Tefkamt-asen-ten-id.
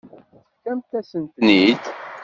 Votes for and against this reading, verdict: 0, 2, rejected